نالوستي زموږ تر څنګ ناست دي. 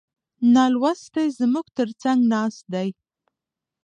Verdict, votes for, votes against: rejected, 1, 2